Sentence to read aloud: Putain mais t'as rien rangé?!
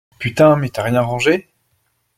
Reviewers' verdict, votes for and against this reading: accepted, 2, 0